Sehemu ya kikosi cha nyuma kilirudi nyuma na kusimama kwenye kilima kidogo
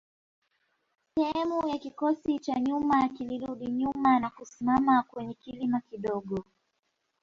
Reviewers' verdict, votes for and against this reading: rejected, 0, 2